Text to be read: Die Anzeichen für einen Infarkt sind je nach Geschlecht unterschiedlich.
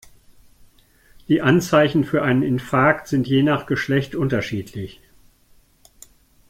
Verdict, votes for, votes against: accepted, 2, 0